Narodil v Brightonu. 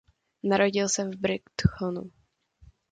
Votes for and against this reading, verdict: 1, 2, rejected